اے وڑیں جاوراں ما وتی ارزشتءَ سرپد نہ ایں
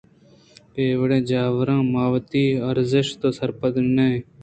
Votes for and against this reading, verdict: 2, 1, accepted